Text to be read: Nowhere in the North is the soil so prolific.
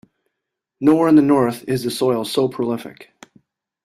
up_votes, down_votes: 2, 0